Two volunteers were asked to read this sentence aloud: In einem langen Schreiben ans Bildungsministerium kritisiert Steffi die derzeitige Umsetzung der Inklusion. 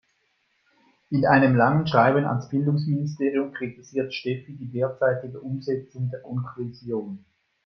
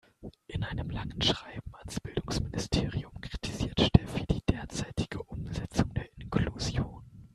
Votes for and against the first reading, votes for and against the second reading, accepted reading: 1, 2, 2, 0, second